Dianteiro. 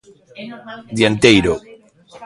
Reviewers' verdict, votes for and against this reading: rejected, 1, 2